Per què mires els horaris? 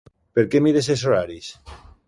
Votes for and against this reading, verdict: 2, 0, accepted